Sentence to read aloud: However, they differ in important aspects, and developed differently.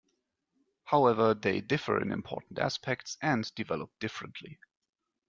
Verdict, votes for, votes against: accepted, 2, 0